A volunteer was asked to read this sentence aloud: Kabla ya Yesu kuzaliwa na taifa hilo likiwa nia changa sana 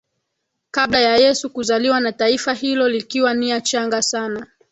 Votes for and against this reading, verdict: 1, 2, rejected